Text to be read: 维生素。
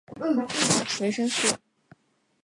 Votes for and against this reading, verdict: 0, 2, rejected